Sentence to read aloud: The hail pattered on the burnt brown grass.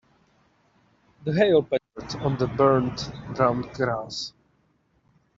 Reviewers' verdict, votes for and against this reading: rejected, 0, 2